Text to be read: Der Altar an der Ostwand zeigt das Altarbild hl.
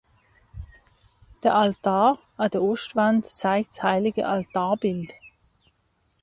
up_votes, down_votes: 0, 2